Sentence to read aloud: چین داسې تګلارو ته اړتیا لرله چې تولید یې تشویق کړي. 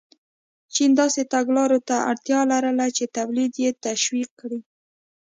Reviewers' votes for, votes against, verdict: 2, 0, accepted